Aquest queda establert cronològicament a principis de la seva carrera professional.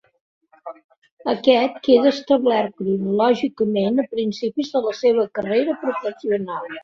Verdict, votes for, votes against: rejected, 0, 2